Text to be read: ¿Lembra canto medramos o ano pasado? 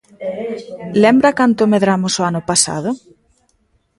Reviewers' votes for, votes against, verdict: 1, 2, rejected